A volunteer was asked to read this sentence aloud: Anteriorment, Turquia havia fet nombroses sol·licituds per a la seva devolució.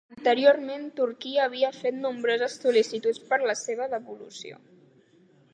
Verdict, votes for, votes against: accepted, 2, 0